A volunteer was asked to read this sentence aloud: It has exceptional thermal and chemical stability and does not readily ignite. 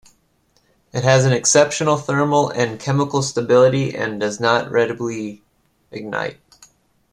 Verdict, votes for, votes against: rejected, 1, 2